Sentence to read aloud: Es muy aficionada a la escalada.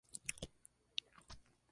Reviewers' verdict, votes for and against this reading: rejected, 0, 2